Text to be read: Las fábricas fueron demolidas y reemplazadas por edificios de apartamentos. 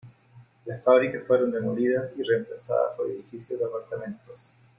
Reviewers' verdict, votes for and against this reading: accepted, 2, 0